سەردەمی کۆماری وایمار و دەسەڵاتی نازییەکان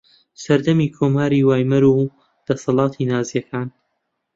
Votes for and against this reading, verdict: 1, 2, rejected